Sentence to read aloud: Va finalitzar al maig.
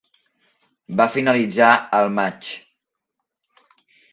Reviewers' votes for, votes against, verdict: 3, 0, accepted